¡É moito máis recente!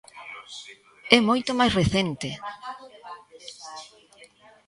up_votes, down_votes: 2, 0